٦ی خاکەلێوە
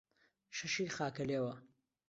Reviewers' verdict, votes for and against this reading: rejected, 0, 2